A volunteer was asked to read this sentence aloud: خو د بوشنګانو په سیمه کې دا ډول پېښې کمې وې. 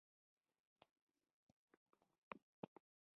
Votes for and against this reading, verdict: 1, 3, rejected